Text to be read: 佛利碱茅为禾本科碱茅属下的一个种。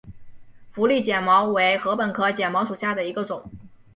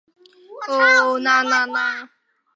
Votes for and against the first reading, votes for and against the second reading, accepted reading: 2, 0, 0, 3, first